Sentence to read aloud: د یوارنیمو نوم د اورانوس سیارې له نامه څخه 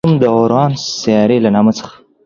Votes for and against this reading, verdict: 1, 2, rejected